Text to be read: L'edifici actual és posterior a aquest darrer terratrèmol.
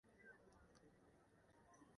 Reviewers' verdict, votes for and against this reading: rejected, 0, 2